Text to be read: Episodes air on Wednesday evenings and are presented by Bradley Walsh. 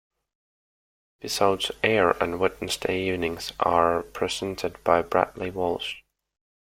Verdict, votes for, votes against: accepted, 2, 1